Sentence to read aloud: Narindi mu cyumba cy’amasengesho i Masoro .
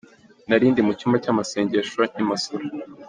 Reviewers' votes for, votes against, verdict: 2, 1, accepted